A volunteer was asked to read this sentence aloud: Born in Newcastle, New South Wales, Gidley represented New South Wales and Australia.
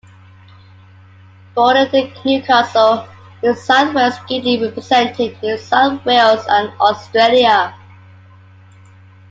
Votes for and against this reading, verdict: 1, 2, rejected